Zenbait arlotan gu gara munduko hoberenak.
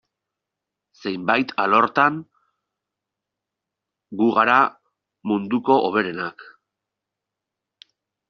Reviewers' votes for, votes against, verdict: 1, 2, rejected